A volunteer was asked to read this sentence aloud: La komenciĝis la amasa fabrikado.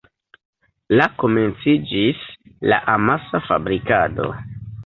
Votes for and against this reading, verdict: 2, 0, accepted